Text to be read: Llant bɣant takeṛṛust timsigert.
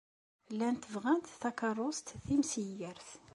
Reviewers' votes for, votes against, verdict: 2, 0, accepted